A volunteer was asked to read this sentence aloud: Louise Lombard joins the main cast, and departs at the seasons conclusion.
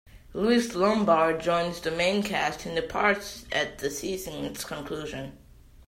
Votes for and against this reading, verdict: 2, 0, accepted